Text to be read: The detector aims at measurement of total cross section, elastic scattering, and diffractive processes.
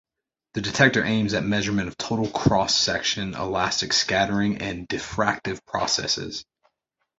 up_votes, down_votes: 2, 0